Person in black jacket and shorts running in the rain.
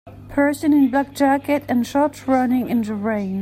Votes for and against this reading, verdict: 2, 0, accepted